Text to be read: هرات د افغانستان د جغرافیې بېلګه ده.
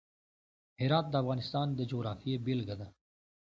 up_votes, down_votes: 2, 0